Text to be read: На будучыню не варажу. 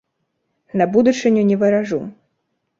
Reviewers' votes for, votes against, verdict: 2, 0, accepted